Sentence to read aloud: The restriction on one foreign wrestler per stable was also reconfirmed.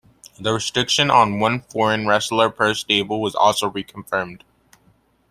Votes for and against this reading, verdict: 2, 0, accepted